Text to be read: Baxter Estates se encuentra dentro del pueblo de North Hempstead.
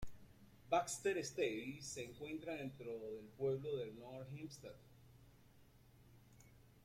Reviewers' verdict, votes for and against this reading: accepted, 2, 1